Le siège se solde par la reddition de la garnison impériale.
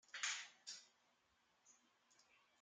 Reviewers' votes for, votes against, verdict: 0, 2, rejected